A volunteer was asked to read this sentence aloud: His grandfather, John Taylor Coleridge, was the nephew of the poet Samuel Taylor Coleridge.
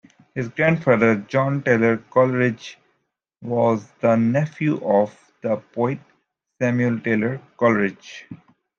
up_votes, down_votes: 2, 1